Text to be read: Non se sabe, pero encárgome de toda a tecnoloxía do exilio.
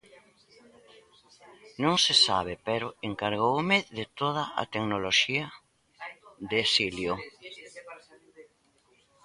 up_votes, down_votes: 0, 2